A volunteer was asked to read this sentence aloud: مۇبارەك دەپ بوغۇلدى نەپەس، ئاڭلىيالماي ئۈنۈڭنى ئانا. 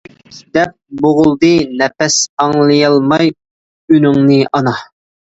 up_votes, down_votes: 0, 2